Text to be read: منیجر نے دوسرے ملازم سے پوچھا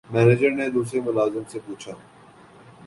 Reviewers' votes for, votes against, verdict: 6, 1, accepted